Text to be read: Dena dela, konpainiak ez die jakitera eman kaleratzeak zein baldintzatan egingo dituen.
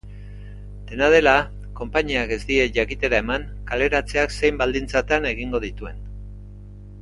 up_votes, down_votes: 2, 0